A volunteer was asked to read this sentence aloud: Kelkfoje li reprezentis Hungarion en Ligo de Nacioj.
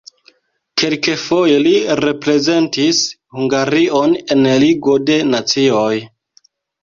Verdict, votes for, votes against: accepted, 2, 1